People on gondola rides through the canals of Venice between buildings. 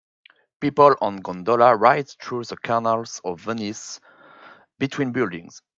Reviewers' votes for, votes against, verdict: 4, 0, accepted